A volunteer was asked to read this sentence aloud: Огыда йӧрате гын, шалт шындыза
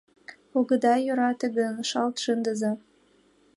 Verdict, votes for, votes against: accepted, 2, 1